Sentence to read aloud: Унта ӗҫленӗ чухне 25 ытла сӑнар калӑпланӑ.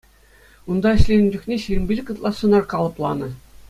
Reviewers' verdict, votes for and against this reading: rejected, 0, 2